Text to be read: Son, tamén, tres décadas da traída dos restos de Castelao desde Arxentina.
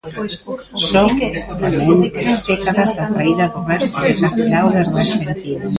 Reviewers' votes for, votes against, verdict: 0, 2, rejected